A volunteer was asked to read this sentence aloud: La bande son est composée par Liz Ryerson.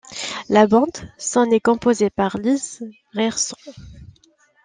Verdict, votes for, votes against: rejected, 0, 2